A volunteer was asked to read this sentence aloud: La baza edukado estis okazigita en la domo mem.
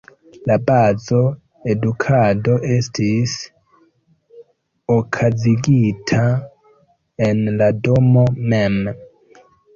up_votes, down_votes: 1, 2